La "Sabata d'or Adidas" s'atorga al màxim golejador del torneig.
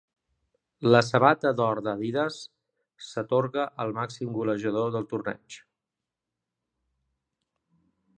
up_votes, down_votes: 0, 2